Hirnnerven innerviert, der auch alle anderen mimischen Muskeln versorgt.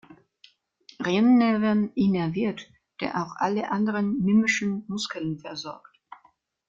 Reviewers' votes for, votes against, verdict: 0, 2, rejected